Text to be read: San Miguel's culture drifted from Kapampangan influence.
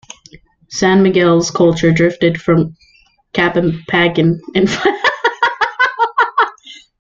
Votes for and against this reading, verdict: 0, 2, rejected